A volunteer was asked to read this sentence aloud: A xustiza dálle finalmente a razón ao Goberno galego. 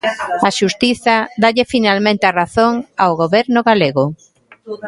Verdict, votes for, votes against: accepted, 2, 0